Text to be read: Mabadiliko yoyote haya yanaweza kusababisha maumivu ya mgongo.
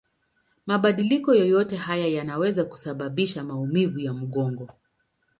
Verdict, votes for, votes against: accepted, 13, 2